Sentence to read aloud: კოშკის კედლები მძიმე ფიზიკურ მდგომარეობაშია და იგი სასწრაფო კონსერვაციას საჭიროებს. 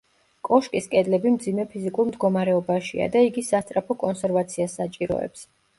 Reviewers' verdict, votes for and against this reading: accepted, 2, 0